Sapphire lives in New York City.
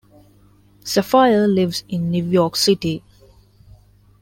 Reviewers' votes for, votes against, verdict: 2, 0, accepted